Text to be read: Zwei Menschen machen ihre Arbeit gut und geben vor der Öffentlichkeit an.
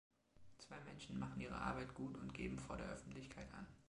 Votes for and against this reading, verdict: 2, 0, accepted